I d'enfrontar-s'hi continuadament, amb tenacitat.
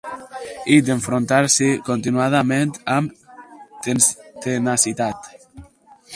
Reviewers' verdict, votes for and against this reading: rejected, 0, 4